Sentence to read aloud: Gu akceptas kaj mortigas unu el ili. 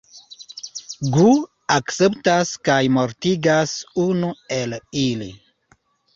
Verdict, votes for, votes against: accepted, 2, 0